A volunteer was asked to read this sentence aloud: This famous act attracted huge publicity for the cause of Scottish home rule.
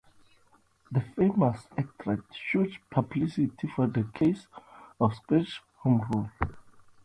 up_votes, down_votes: 0, 2